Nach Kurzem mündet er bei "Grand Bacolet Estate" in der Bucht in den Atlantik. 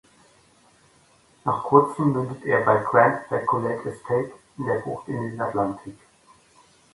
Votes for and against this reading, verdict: 2, 0, accepted